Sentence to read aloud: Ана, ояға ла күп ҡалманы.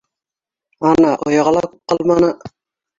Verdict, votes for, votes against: rejected, 0, 2